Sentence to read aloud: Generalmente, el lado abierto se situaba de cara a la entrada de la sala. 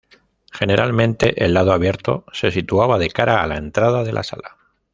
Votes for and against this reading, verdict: 2, 0, accepted